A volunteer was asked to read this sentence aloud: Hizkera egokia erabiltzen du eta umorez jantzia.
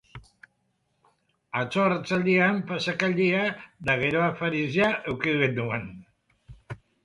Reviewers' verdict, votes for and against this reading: rejected, 0, 4